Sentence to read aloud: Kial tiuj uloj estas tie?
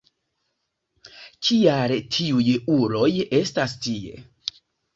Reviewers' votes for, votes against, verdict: 2, 1, accepted